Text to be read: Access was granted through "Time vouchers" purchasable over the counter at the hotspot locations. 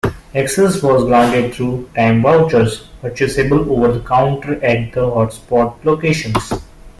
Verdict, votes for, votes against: rejected, 1, 2